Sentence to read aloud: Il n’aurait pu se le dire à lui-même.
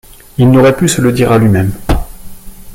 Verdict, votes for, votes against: accepted, 2, 0